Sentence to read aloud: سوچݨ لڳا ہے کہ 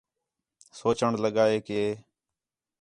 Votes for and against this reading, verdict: 4, 0, accepted